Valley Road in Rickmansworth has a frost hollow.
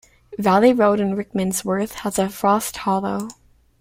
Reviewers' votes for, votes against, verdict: 2, 0, accepted